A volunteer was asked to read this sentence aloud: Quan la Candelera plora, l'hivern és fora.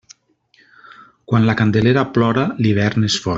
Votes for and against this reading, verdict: 2, 3, rejected